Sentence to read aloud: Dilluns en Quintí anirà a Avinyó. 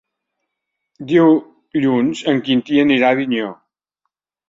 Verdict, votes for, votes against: rejected, 0, 2